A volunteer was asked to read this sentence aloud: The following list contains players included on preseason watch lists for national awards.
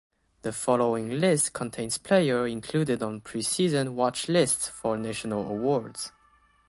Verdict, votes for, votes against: accepted, 2, 1